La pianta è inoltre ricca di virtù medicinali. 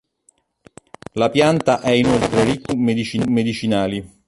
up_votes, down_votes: 0, 2